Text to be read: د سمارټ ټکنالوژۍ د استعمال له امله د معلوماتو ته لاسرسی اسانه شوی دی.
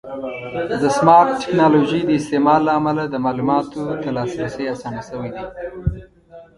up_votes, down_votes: 1, 2